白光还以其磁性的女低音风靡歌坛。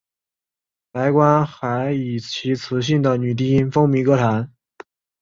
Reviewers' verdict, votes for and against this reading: accepted, 3, 0